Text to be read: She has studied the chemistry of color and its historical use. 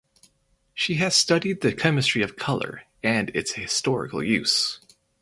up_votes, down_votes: 2, 4